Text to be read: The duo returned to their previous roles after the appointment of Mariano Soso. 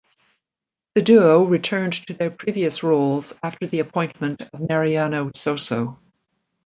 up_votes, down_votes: 2, 0